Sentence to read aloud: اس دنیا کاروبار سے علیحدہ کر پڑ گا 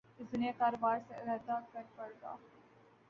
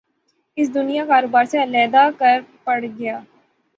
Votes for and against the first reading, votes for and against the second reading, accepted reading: 1, 3, 6, 0, second